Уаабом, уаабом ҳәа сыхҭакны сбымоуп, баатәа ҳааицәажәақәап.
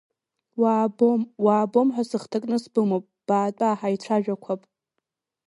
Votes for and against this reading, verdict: 1, 2, rejected